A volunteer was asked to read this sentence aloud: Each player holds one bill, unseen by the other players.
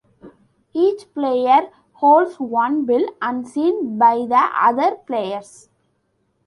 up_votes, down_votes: 2, 0